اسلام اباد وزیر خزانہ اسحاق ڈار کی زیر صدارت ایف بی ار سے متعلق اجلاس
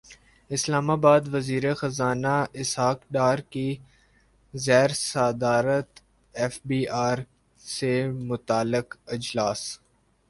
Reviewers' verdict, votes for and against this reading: rejected, 1, 2